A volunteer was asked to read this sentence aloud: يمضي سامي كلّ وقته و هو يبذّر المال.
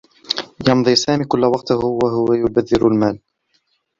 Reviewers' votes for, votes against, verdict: 1, 2, rejected